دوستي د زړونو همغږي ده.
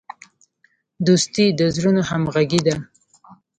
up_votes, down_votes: 2, 0